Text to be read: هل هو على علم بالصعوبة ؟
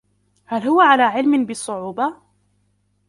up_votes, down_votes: 0, 2